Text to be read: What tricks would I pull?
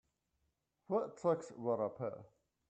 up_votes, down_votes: 0, 2